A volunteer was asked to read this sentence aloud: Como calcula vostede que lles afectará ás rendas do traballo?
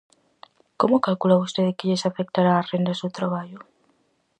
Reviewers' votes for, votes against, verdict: 4, 0, accepted